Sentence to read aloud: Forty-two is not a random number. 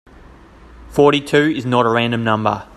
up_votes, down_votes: 2, 0